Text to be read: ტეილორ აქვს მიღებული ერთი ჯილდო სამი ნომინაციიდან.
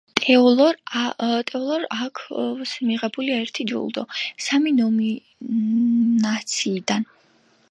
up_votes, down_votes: 0, 2